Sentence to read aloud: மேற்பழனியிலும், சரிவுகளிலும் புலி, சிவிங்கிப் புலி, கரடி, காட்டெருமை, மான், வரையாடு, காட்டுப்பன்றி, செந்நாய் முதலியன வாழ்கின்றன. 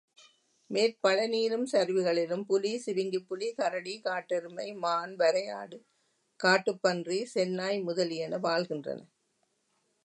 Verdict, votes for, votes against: accepted, 2, 0